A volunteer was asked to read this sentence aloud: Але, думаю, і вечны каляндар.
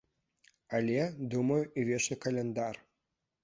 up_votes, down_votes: 2, 0